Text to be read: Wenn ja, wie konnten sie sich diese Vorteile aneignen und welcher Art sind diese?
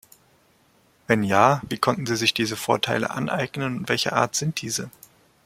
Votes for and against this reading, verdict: 3, 0, accepted